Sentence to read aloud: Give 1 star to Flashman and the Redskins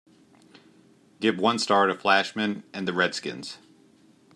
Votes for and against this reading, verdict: 0, 2, rejected